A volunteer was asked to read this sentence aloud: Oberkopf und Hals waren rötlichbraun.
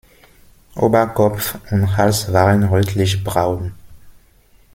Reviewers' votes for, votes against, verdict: 2, 1, accepted